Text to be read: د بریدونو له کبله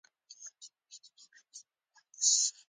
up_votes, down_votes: 2, 0